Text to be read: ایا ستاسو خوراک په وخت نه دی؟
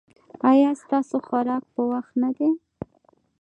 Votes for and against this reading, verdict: 2, 0, accepted